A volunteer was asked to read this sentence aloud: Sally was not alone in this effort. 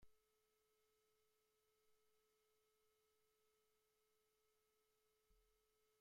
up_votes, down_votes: 0, 2